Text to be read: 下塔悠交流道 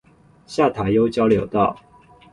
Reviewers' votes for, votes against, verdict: 2, 0, accepted